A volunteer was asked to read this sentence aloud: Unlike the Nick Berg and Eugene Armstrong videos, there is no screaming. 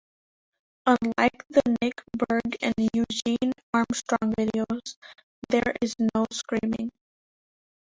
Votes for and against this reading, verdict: 0, 2, rejected